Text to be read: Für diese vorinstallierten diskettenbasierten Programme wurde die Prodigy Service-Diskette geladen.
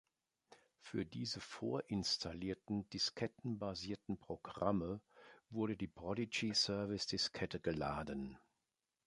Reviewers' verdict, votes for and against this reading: accepted, 2, 0